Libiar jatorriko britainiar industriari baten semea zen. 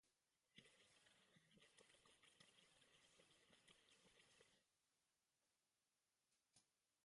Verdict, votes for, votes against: rejected, 0, 2